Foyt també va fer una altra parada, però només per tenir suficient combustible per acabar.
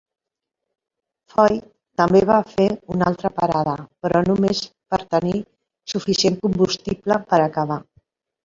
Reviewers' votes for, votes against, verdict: 2, 0, accepted